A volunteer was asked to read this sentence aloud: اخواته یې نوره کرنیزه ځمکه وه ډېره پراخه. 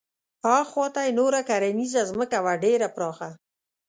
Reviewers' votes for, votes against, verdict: 2, 0, accepted